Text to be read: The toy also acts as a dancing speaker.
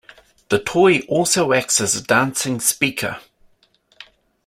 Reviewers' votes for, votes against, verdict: 2, 0, accepted